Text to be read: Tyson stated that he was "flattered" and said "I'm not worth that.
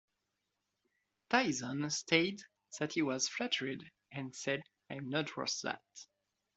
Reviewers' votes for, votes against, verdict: 1, 2, rejected